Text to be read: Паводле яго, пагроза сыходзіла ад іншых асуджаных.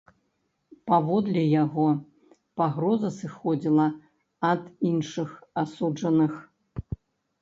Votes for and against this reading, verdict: 1, 2, rejected